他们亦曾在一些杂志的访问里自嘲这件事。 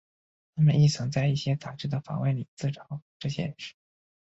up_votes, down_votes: 3, 1